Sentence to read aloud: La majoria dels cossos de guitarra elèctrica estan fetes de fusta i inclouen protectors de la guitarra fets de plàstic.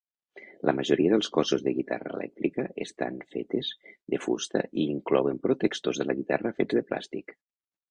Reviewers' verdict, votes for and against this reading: rejected, 0, 2